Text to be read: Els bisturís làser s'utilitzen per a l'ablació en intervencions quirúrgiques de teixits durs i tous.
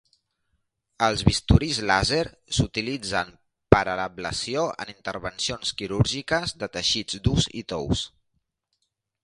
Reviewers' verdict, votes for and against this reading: accepted, 3, 0